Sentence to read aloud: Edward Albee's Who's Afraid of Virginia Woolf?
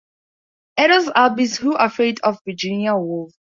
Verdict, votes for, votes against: rejected, 2, 2